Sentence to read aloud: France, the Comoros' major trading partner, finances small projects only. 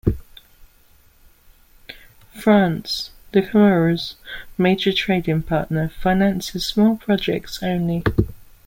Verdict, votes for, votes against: rejected, 1, 2